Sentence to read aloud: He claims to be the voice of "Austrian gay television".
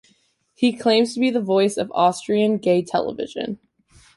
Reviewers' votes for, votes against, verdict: 2, 0, accepted